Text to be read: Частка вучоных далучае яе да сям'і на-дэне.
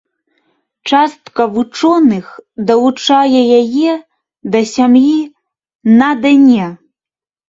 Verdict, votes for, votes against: accepted, 2, 0